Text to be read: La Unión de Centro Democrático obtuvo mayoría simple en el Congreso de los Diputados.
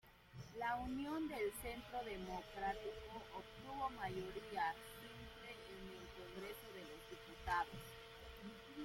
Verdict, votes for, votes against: rejected, 0, 2